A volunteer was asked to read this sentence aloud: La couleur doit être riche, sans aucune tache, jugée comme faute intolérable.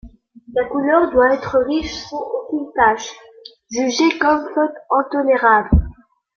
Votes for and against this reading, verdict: 2, 1, accepted